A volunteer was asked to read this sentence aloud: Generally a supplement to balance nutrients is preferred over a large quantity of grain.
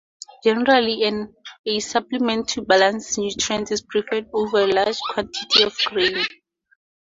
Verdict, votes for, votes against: rejected, 0, 2